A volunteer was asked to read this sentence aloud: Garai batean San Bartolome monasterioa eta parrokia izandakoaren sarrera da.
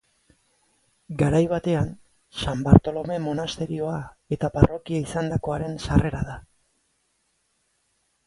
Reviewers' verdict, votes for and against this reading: accepted, 2, 1